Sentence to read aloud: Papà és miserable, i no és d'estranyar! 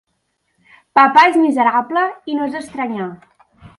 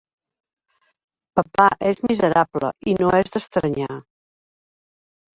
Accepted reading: first